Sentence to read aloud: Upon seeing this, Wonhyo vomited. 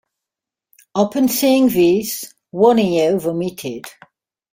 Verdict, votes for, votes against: rejected, 1, 2